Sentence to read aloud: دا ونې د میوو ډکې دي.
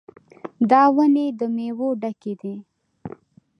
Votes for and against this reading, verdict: 0, 2, rejected